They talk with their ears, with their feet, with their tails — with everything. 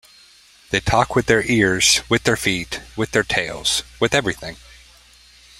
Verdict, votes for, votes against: accepted, 2, 0